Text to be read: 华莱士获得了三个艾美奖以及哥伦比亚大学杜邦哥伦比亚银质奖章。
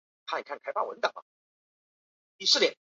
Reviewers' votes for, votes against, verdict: 2, 0, accepted